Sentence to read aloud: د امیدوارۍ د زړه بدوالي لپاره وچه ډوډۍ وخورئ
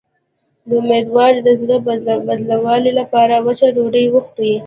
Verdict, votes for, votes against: rejected, 1, 2